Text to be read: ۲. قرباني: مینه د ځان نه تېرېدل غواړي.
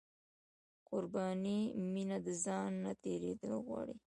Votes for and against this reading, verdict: 0, 2, rejected